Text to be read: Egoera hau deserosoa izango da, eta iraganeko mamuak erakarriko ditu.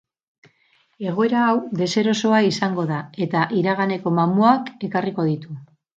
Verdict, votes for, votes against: rejected, 0, 4